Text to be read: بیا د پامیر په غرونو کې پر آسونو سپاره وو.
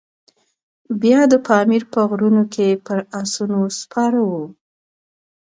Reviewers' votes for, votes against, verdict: 2, 0, accepted